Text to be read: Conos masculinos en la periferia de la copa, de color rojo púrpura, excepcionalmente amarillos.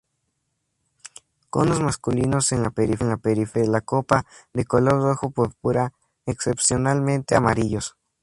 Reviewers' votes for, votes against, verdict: 2, 0, accepted